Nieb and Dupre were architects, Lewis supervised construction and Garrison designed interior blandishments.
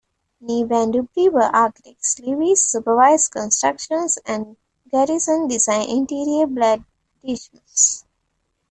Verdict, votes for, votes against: rejected, 0, 2